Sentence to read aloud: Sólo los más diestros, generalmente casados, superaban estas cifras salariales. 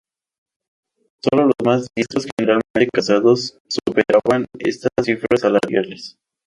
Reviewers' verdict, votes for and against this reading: rejected, 0, 2